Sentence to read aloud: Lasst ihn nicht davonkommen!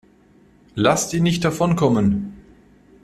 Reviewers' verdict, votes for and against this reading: accepted, 2, 0